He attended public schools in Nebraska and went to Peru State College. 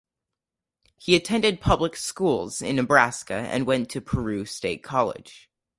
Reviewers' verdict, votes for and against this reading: accepted, 4, 0